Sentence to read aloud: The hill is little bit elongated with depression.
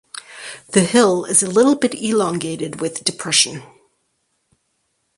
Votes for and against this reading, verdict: 4, 0, accepted